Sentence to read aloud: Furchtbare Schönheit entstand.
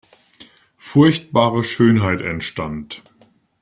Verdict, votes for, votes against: accepted, 2, 0